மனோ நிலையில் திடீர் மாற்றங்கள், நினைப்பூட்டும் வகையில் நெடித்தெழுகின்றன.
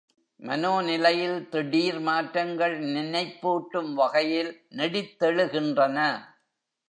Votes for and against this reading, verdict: 3, 0, accepted